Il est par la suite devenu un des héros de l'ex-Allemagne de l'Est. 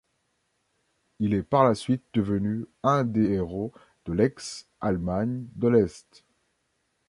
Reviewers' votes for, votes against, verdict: 2, 0, accepted